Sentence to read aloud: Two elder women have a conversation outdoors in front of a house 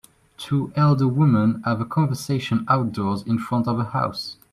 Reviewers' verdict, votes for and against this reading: accepted, 3, 0